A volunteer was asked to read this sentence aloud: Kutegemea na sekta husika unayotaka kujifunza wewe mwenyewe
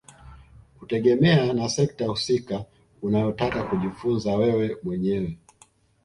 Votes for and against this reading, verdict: 2, 0, accepted